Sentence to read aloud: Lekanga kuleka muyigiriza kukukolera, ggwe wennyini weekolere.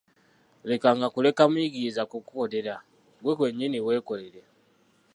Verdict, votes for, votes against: rejected, 0, 2